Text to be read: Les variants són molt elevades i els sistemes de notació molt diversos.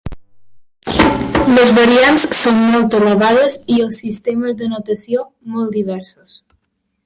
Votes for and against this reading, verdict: 3, 4, rejected